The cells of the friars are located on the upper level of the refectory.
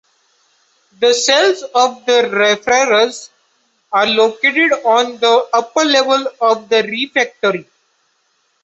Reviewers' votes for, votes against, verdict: 0, 2, rejected